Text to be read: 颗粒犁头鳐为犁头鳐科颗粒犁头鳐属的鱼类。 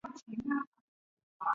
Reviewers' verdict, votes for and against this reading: accepted, 3, 1